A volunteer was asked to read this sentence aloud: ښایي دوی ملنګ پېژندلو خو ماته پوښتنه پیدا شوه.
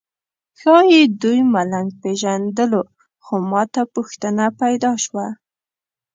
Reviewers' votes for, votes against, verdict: 2, 0, accepted